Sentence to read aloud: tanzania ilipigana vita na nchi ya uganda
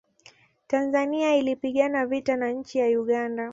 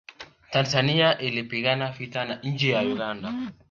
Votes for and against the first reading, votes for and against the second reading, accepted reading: 2, 0, 1, 2, first